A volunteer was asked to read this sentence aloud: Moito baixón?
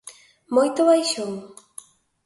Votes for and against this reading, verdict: 2, 0, accepted